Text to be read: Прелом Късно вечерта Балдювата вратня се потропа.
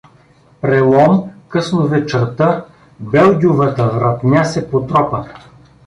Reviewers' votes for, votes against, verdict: 1, 2, rejected